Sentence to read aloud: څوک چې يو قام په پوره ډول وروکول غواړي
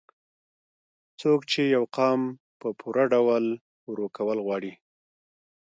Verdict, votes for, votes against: accepted, 2, 1